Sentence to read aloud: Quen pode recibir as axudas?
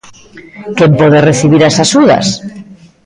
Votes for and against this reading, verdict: 1, 2, rejected